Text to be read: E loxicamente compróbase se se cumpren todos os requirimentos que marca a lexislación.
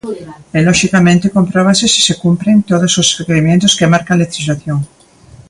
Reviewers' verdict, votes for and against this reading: accepted, 2, 0